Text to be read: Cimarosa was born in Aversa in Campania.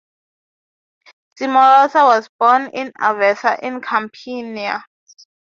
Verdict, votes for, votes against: rejected, 0, 3